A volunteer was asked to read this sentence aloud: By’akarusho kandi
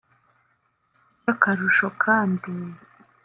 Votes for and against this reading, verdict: 1, 3, rejected